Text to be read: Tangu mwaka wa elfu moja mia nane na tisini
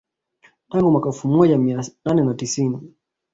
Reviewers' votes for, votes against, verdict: 1, 2, rejected